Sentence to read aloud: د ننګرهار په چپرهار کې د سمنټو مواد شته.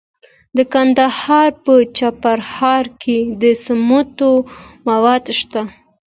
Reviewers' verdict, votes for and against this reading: accepted, 2, 1